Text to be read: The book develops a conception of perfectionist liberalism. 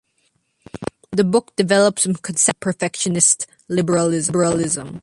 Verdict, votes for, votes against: rejected, 1, 3